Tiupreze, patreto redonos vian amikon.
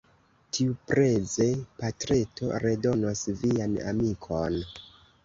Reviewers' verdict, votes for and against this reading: rejected, 1, 2